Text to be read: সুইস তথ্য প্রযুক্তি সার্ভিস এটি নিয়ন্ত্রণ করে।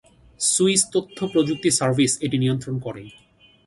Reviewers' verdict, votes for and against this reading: accepted, 2, 0